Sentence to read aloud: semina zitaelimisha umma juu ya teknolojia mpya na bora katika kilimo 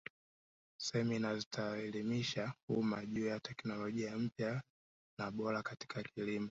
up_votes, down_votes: 2, 0